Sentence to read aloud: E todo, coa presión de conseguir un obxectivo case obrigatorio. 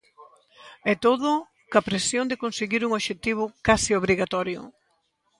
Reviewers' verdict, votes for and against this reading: accepted, 2, 1